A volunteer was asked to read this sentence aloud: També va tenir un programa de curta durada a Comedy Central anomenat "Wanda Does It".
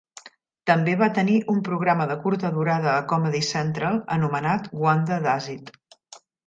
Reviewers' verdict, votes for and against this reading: rejected, 0, 2